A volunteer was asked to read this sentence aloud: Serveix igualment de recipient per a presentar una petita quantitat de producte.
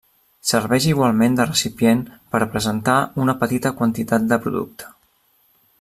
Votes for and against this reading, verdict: 2, 0, accepted